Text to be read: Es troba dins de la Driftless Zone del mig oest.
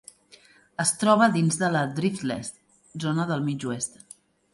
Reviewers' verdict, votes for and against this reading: accepted, 2, 1